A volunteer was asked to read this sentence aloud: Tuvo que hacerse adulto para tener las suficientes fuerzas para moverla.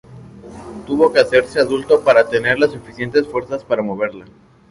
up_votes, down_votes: 4, 0